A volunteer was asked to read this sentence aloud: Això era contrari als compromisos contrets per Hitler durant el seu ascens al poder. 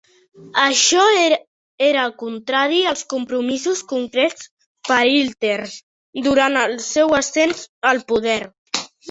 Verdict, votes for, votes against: rejected, 0, 3